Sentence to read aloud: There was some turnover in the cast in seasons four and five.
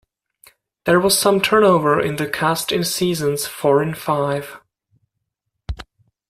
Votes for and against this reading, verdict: 2, 0, accepted